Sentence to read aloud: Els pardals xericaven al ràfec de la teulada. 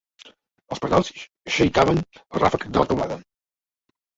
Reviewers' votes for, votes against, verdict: 1, 2, rejected